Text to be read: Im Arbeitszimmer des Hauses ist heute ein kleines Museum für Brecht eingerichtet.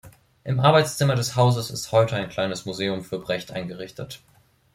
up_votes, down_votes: 2, 0